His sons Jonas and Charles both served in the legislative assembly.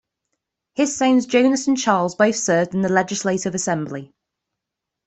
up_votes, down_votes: 2, 0